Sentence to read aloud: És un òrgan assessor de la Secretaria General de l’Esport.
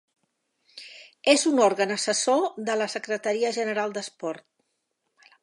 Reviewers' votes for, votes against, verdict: 0, 2, rejected